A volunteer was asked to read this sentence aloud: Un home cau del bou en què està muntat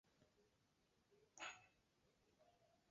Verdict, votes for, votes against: rejected, 0, 2